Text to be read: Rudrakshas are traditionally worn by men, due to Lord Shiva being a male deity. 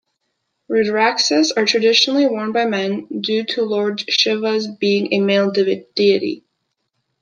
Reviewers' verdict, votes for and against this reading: rejected, 0, 2